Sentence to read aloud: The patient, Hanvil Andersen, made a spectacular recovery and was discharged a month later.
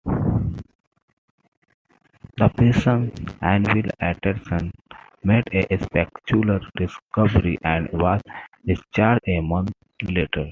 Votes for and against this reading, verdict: 2, 1, accepted